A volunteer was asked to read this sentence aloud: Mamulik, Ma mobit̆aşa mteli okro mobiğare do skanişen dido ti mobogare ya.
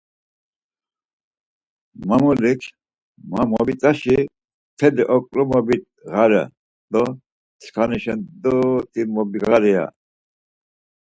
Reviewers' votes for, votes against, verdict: 2, 4, rejected